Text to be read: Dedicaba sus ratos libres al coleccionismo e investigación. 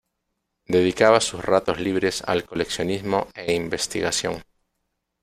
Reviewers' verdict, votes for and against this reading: rejected, 0, 2